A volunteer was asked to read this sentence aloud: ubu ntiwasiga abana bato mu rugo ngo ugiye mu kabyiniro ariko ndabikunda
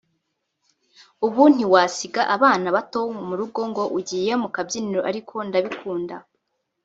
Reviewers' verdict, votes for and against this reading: rejected, 0, 2